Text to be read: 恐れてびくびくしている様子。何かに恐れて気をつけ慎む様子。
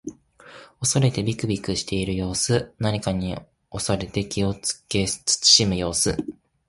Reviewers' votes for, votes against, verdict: 2, 0, accepted